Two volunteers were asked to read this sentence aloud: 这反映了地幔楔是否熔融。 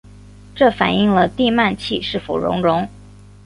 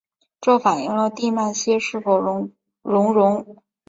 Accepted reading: first